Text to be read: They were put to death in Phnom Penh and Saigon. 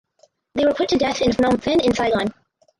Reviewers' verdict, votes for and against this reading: rejected, 0, 4